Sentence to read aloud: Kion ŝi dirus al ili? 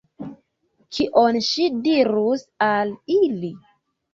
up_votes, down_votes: 2, 1